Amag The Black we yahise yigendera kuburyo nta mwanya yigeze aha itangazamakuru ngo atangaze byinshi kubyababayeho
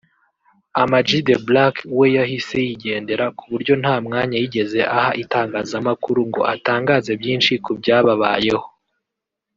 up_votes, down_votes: 2, 0